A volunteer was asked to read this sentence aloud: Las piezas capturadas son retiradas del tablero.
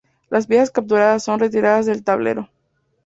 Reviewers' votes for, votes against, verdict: 4, 0, accepted